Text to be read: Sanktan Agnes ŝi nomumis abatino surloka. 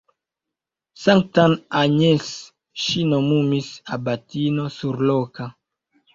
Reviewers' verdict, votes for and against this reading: accepted, 2, 0